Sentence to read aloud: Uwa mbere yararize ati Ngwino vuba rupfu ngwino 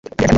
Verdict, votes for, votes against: accepted, 2, 1